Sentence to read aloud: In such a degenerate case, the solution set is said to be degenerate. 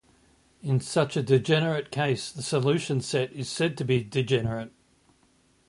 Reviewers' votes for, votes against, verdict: 2, 0, accepted